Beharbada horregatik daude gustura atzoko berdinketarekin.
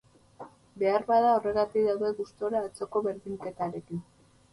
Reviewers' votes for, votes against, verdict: 4, 0, accepted